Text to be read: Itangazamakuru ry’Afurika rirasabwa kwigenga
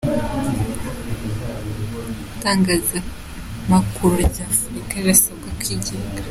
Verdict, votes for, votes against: accepted, 2, 1